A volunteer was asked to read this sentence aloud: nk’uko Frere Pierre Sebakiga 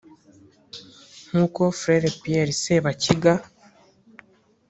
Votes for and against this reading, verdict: 3, 0, accepted